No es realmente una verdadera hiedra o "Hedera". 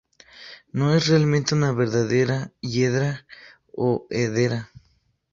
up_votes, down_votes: 4, 0